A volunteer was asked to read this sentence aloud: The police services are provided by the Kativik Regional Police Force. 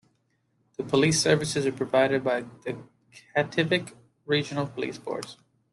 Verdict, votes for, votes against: accepted, 2, 0